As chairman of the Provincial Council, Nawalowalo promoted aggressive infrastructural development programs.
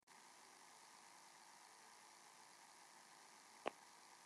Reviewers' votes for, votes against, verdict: 0, 2, rejected